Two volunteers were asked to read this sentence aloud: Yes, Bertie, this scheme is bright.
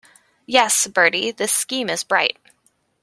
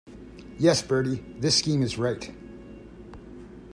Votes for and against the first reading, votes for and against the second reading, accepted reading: 2, 0, 1, 2, first